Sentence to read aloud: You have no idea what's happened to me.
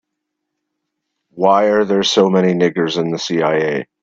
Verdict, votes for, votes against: rejected, 0, 2